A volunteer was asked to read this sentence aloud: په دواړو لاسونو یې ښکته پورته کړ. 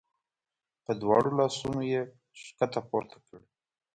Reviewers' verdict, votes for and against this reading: accepted, 2, 0